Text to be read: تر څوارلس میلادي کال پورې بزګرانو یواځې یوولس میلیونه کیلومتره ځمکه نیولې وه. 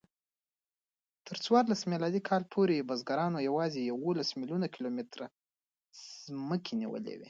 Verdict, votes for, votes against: accepted, 2, 1